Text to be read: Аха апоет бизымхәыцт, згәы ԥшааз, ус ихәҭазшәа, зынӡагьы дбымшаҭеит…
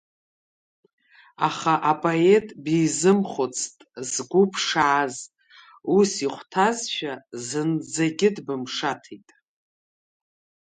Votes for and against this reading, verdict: 3, 0, accepted